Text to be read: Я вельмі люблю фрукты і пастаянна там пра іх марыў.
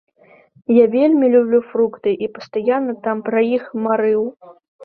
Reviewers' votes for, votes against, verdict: 0, 2, rejected